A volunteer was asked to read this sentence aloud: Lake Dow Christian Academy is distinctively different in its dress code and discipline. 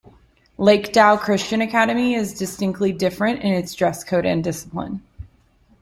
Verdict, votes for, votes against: rejected, 0, 2